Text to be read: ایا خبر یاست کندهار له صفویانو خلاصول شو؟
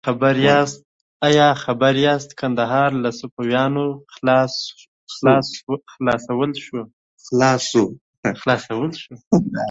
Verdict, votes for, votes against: rejected, 0, 2